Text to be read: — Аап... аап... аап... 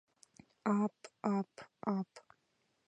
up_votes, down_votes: 2, 0